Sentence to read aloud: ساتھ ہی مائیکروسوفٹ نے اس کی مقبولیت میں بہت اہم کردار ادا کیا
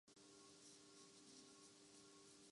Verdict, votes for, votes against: rejected, 0, 2